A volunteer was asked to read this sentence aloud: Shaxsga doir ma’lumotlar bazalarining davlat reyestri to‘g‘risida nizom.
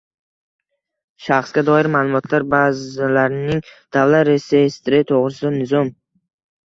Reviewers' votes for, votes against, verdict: 2, 0, accepted